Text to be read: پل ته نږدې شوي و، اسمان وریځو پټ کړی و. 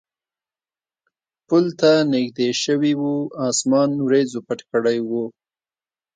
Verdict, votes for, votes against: accepted, 2, 0